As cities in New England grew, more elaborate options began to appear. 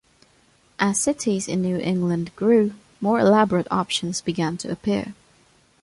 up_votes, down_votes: 2, 0